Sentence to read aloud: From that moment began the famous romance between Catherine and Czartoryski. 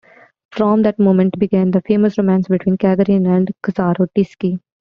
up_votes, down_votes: 0, 2